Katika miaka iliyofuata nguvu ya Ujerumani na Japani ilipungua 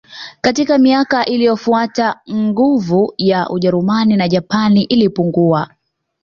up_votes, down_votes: 2, 1